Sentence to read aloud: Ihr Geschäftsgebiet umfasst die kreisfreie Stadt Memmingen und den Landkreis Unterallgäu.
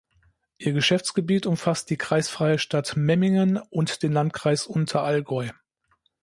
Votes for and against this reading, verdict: 2, 0, accepted